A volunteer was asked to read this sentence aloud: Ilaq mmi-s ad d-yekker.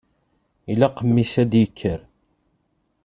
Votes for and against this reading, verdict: 2, 0, accepted